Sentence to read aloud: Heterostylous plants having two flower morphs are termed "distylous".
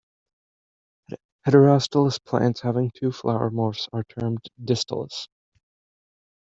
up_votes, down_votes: 1, 2